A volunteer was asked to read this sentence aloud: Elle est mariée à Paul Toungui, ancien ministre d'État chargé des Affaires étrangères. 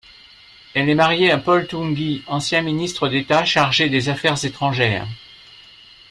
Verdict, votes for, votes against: rejected, 0, 2